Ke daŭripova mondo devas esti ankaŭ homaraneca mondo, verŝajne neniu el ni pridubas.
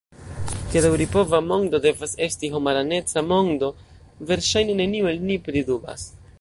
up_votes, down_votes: 0, 2